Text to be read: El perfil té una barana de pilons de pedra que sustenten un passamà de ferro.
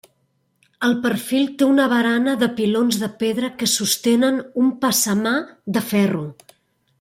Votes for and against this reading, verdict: 1, 2, rejected